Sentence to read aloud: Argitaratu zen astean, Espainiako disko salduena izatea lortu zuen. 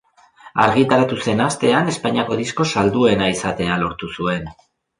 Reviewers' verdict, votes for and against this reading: accepted, 2, 0